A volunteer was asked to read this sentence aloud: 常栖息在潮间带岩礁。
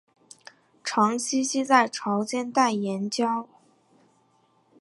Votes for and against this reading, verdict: 2, 0, accepted